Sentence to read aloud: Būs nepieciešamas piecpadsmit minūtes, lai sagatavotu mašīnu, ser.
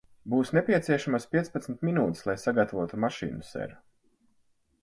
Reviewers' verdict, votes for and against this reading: accepted, 4, 0